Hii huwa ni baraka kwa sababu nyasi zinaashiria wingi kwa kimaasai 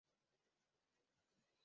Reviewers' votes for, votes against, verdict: 1, 7, rejected